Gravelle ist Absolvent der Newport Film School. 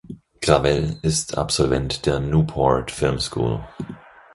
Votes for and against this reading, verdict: 4, 0, accepted